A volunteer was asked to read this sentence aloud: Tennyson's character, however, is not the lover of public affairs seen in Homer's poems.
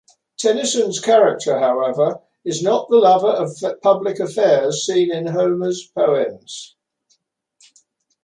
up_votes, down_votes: 3, 1